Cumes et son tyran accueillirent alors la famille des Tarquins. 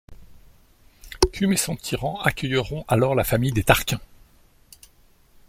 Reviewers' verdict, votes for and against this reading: rejected, 1, 2